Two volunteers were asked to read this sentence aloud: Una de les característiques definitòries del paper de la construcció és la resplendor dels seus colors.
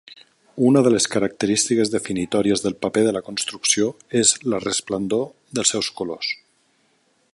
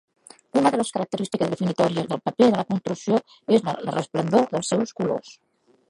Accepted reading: first